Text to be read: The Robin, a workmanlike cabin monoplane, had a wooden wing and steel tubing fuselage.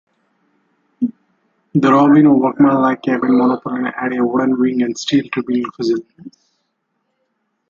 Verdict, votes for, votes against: rejected, 0, 2